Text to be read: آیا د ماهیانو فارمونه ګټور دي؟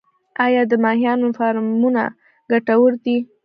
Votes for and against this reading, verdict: 1, 2, rejected